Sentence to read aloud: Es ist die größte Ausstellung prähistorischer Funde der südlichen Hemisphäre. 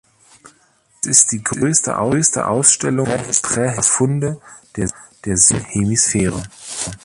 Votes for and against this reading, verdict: 0, 2, rejected